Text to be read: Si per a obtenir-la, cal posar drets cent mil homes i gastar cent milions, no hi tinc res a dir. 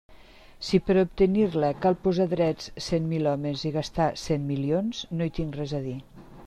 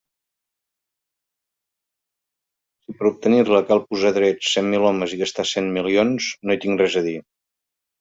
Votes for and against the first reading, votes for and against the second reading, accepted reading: 2, 0, 1, 2, first